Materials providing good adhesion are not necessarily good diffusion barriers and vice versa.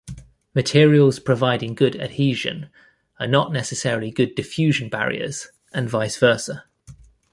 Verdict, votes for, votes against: accepted, 2, 0